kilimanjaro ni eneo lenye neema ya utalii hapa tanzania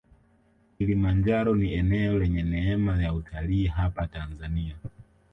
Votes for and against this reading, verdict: 0, 2, rejected